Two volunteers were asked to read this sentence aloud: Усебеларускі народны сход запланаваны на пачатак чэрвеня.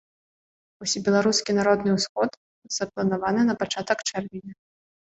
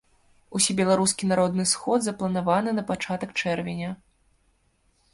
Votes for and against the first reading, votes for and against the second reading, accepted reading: 1, 2, 2, 0, second